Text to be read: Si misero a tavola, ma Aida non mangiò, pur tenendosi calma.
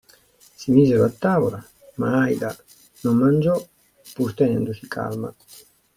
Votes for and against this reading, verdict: 2, 0, accepted